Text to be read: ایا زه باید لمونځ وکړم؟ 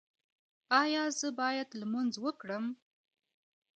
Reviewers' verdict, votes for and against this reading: accepted, 2, 0